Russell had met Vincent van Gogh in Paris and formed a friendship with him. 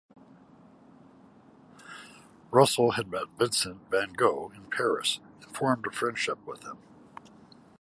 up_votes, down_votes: 2, 0